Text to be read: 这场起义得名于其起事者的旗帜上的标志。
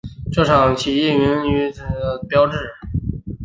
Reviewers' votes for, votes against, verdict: 0, 2, rejected